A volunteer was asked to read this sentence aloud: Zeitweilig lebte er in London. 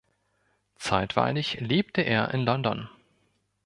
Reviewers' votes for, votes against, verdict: 2, 0, accepted